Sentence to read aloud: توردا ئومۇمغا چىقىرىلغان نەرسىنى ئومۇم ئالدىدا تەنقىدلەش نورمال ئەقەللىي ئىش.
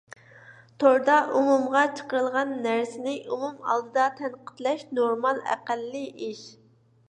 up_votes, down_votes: 2, 0